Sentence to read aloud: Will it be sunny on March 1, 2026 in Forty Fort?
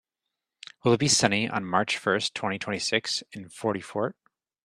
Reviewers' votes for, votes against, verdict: 0, 2, rejected